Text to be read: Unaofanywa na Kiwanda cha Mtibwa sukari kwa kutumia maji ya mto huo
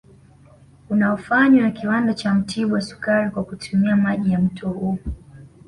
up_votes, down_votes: 2, 0